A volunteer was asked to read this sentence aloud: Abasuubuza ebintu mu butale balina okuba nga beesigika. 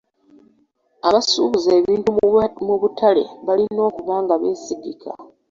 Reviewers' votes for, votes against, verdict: 3, 2, accepted